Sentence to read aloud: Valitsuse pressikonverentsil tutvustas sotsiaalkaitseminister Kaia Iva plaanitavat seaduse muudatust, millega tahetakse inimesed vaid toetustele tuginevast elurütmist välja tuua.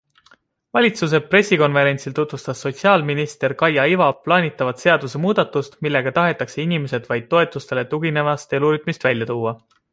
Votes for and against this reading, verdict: 2, 0, accepted